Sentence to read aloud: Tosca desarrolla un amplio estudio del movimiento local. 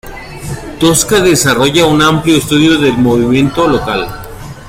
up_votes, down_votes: 2, 1